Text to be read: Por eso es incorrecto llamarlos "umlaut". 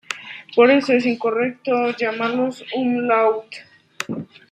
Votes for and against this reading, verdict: 2, 0, accepted